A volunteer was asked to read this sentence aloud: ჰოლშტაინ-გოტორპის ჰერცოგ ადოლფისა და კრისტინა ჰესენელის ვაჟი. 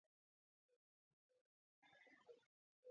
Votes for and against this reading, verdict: 0, 2, rejected